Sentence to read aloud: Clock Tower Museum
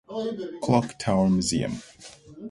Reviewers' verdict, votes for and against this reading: accepted, 2, 0